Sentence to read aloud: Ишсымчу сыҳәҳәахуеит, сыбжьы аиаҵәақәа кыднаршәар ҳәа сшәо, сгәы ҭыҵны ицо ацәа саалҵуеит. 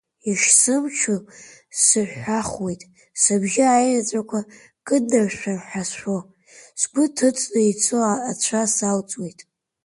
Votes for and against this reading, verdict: 1, 2, rejected